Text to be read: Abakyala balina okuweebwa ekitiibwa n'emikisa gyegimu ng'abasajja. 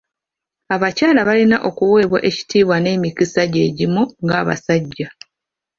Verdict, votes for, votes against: accepted, 2, 1